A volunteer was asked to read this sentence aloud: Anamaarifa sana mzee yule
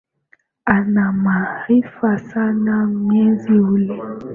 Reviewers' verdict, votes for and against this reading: accepted, 2, 1